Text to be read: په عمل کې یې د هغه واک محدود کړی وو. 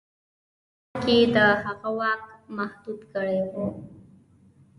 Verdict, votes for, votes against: rejected, 1, 2